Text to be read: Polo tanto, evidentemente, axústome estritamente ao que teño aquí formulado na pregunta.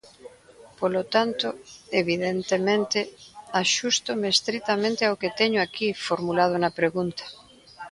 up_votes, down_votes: 2, 0